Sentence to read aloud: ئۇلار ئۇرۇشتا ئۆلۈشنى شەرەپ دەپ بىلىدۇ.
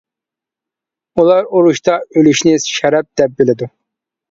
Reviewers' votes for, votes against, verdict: 2, 0, accepted